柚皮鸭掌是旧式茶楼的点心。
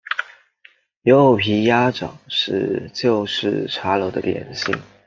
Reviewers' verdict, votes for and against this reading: accepted, 2, 0